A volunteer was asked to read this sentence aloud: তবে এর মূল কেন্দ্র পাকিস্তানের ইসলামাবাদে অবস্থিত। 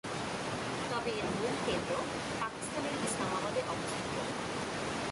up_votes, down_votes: 4, 5